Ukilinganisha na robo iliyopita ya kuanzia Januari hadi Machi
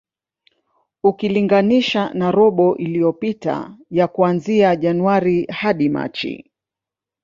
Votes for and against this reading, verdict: 1, 2, rejected